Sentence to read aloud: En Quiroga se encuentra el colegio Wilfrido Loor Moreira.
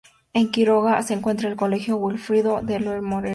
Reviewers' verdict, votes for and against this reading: rejected, 0, 2